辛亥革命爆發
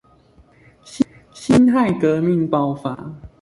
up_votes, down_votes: 0, 2